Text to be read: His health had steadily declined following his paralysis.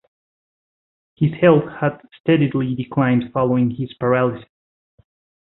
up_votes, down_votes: 2, 1